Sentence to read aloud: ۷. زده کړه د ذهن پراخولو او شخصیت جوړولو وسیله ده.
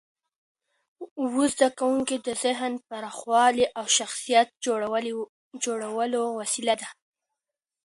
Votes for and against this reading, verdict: 0, 2, rejected